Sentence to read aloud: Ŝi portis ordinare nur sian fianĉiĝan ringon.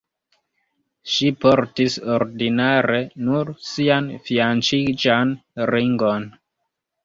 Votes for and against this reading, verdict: 0, 3, rejected